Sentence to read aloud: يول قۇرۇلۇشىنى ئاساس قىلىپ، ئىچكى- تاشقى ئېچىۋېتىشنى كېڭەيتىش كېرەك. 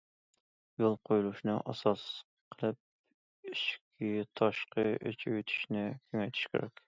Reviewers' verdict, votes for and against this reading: rejected, 1, 2